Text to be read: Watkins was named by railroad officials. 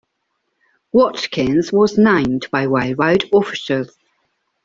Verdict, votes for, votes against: rejected, 0, 2